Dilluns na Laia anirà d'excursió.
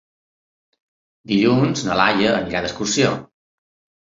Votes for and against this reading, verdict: 3, 0, accepted